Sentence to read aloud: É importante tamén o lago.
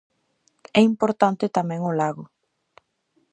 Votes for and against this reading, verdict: 2, 0, accepted